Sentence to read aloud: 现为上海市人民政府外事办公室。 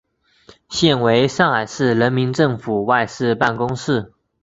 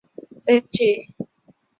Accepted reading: first